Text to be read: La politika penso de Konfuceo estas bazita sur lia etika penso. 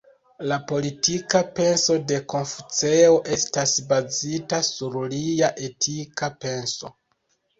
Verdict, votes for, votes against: rejected, 0, 2